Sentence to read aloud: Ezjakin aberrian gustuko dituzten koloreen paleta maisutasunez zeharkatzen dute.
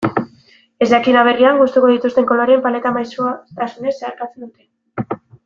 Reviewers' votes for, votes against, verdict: 2, 1, accepted